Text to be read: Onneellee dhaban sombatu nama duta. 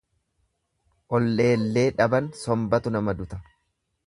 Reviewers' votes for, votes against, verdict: 0, 2, rejected